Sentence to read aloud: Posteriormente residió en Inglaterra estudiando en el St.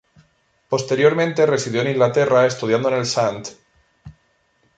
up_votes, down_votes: 2, 0